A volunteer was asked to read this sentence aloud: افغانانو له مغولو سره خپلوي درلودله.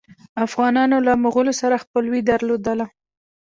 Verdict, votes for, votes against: accepted, 2, 0